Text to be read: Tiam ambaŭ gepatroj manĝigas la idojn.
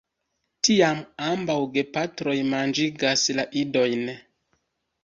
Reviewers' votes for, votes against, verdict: 1, 2, rejected